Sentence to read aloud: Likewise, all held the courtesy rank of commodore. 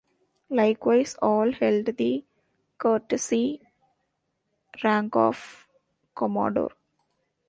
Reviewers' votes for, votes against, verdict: 1, 2, rejected